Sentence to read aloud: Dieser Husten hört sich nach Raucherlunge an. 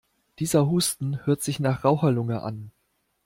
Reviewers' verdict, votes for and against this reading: accepted, 2, 0